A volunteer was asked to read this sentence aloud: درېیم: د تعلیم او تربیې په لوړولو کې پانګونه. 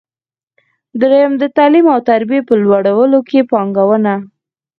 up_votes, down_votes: 2, 4